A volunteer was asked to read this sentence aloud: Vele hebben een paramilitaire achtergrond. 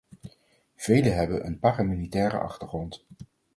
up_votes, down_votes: 4, 0